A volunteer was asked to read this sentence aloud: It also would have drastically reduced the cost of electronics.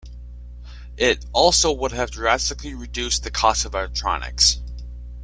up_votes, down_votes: 2, 0